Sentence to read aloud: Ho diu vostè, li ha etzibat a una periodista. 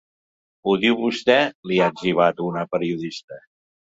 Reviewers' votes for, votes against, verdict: 2, 0, accepted